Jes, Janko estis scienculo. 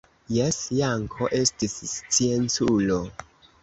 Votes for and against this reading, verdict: 2, 0, accepted